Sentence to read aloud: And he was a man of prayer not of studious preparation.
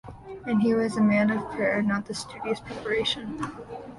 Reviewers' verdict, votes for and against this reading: accepted, 2, 0